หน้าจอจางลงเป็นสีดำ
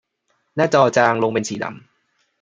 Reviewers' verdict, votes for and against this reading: rejected, 1, 2